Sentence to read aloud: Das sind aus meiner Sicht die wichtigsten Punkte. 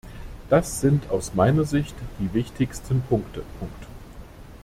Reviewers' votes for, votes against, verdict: 0, 2, rejected